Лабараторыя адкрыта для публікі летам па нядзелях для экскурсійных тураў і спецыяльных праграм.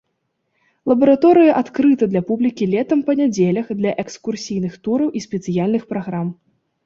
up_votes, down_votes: 2, 0